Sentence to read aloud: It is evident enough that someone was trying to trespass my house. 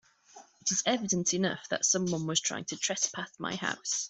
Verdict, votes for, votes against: rejected, 0, 2